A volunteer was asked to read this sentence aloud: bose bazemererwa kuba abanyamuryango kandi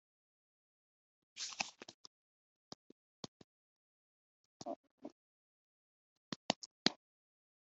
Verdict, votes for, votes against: rejected, 1, 2